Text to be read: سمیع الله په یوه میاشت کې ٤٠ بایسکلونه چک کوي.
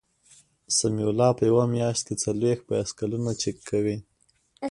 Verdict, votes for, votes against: rejected, 0, 2